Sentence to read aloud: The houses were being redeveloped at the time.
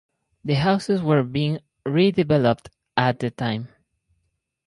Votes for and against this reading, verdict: 4, 0, accepted